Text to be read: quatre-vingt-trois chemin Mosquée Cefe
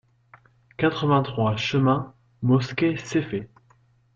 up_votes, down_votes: 1, 2